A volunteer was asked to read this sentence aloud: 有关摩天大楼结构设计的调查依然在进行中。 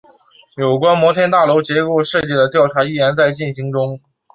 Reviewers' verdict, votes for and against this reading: accepted, 2, 0